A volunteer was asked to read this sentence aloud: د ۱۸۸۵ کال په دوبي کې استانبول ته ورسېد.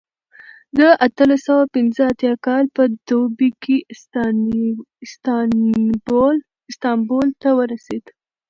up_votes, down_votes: 0, 2